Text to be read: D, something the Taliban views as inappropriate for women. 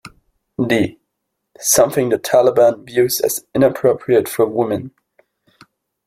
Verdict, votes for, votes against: rejected, 1, 2